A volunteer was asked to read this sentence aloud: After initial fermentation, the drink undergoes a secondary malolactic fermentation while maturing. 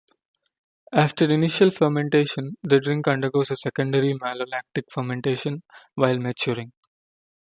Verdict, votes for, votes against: accepted, 2, 0